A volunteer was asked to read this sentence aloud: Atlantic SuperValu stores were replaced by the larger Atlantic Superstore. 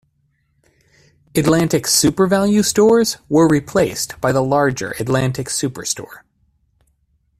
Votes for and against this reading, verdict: 2, 0, accepted